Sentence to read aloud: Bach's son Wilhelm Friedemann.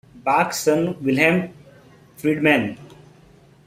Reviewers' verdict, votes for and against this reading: rejected, 2, 3